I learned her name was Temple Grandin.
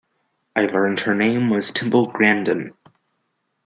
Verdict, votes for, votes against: rejected, 1, 2